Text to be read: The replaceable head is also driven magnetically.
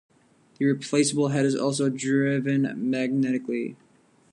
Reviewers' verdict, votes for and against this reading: accepted, 2, 0